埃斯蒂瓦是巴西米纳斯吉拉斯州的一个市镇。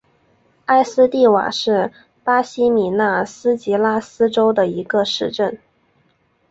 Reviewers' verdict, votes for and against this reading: accepted, 8, 0